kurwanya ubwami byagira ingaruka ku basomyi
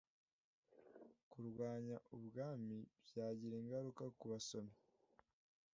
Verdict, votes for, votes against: accepted, 2, 0